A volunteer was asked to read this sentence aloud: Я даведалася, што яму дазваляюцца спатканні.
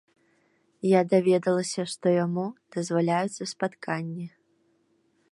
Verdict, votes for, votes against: accepted, 2, 0